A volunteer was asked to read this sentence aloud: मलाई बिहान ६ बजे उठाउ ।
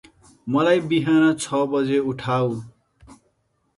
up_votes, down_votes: 0, 2